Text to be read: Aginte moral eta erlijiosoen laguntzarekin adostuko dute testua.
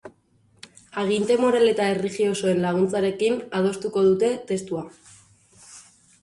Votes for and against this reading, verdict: 2, 0, accepted